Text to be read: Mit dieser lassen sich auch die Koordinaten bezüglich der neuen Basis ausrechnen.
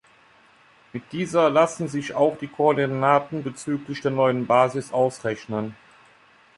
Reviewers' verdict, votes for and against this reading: accepted, 2, 0